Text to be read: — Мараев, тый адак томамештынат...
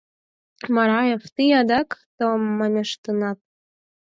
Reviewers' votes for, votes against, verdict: 4, 2, accepted